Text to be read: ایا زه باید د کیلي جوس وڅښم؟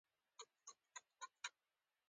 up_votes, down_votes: 3, 1